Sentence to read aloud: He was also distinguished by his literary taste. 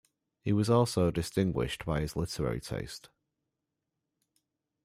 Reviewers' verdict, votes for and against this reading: rejected, 0, 2